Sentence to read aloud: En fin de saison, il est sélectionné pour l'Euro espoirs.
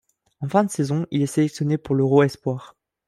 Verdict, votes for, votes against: accepted, 3, 0